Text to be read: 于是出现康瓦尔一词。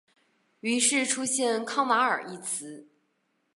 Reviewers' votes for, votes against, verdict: 2, 0, accepted